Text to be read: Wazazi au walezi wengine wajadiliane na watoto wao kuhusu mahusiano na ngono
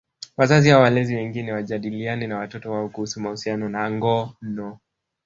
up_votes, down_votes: 1, 2